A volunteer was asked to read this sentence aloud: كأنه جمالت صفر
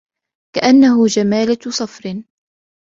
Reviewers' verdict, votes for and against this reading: accepted, 2, 0